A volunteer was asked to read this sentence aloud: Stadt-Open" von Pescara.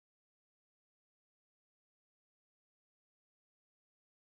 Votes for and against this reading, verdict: 0, 2, rejected